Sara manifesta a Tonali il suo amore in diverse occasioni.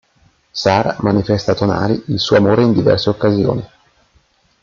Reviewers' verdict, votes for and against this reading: accepted, 2, 0